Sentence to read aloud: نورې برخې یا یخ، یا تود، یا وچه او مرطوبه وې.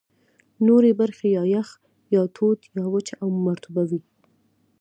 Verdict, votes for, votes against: rejected, 0, 2